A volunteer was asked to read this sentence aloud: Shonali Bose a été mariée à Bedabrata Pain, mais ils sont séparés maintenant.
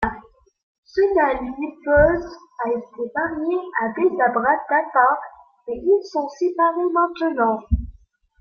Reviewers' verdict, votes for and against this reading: rejected, 1, 2